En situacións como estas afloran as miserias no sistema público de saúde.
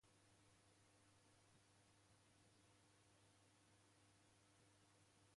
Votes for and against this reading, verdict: 0, 2, rejected